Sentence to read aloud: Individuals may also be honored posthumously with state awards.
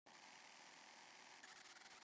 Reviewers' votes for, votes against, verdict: 0, 2, rejected